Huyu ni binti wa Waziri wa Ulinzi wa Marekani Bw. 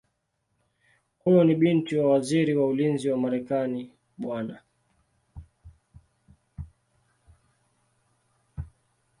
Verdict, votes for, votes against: accepted, 2, 0